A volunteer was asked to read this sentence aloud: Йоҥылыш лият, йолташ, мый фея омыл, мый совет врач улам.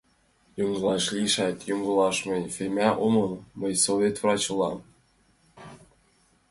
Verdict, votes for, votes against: rejected, 0, 2